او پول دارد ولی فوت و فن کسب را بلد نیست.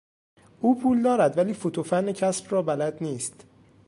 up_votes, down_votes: 2, 0